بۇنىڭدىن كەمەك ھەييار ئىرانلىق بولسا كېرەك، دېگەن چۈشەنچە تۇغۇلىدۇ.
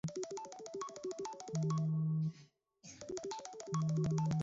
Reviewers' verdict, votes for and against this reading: rejected, 0, 2